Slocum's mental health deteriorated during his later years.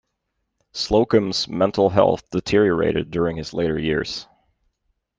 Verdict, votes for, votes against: accepted, 2, 0